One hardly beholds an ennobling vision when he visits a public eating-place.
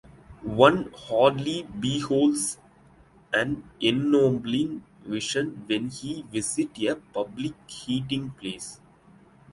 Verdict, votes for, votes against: accepted, 2, 0